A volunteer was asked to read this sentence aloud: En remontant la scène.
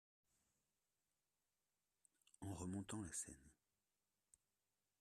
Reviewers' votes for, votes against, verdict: 0, 2, rejected